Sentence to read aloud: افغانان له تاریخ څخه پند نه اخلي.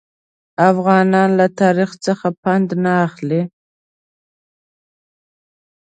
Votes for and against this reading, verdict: 2, 0, accepted